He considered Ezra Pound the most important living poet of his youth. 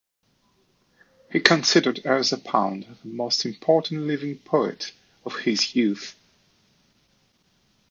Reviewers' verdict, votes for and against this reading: accepted, 2, 1